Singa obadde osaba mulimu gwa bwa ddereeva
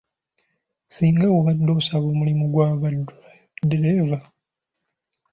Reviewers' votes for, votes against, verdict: 0, 2, rejected